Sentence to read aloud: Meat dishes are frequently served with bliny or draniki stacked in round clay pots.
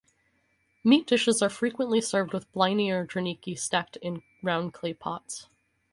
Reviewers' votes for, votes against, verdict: 2, 0, accepted